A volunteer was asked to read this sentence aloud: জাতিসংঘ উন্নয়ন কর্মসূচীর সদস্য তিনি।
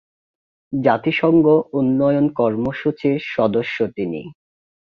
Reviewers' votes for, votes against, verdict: 2, 0, accepted